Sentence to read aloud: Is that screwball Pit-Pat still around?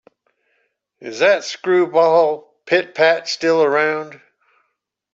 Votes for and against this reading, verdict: 2, 0, accepted